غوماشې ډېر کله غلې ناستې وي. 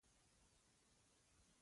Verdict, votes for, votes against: rejected, 0, 2